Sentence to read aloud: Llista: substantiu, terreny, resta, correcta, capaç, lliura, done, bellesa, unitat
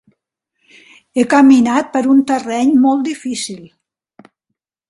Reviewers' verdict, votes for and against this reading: rejected, 0, 4